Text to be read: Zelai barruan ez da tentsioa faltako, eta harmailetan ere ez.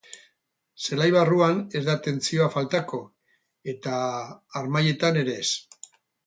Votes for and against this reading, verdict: 4, 0, accepted